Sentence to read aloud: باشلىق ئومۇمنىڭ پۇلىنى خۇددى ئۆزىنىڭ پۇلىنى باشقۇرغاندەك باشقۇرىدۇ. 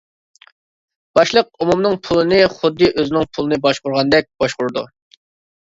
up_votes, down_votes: 2, 0